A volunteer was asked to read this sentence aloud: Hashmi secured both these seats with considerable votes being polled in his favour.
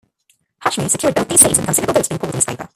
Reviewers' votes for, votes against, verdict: 0, 2, rejected